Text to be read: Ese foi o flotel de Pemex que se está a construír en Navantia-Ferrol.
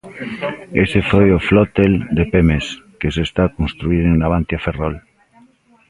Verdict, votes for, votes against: accepted, 2, 0